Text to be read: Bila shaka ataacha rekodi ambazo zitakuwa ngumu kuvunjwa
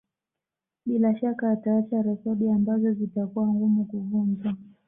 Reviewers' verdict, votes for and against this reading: accepted, 2, 1